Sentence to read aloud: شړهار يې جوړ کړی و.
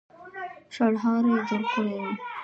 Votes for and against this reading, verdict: 1, 2, rejected